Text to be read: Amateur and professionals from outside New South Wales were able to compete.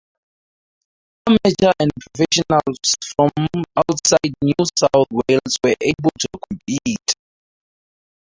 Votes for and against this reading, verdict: 2, 2, rejected